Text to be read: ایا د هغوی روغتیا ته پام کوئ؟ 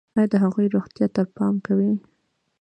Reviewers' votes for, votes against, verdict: 2, 0, accepted